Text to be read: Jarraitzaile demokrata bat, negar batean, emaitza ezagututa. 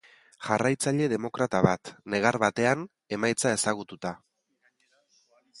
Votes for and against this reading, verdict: 2, 1, accepted